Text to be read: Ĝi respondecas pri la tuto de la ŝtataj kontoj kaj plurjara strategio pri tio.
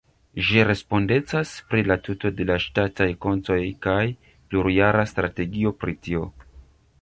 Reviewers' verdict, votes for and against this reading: rejected, 1, 2